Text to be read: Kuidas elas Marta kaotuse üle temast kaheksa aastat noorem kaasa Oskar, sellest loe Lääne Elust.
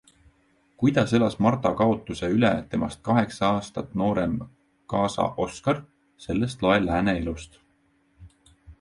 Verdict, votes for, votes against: accepted, 2, 0